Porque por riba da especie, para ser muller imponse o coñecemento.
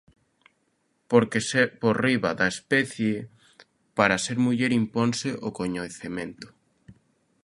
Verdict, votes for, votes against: rejected, 0, 2